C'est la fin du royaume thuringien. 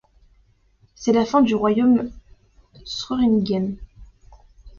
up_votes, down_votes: 1, 2